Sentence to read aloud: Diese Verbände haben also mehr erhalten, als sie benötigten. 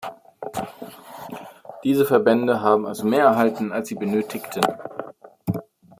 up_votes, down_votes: 2, 0